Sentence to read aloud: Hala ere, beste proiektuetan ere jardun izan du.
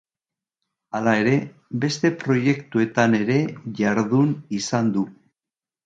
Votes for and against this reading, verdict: 2, 0, accepted